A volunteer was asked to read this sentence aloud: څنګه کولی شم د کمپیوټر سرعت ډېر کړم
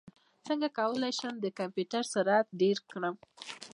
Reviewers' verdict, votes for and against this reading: rejected, 1, 2